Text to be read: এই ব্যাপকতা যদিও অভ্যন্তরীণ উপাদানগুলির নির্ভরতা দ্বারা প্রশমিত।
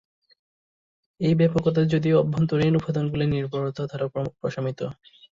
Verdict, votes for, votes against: rejected, 2, 2